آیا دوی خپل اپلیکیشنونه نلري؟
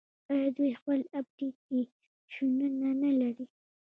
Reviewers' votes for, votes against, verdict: 0, 2, rejected